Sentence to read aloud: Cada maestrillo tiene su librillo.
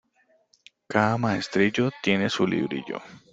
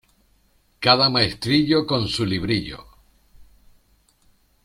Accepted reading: first